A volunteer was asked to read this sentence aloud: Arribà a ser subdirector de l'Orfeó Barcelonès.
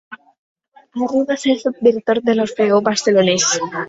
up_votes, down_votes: 0, 2